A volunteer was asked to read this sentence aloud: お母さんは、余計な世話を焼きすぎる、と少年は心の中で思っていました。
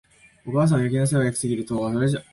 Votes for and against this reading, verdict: 0, 2, rejected